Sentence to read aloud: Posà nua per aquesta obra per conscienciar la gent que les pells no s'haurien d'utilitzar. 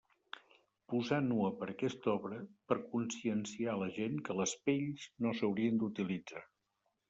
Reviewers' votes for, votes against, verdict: 0, 2, rejected